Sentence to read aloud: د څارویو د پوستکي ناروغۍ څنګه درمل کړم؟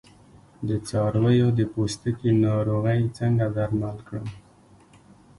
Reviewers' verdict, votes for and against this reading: accepted, 2, 0